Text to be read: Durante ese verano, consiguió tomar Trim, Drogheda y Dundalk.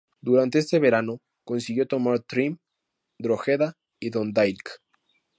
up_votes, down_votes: 0, 2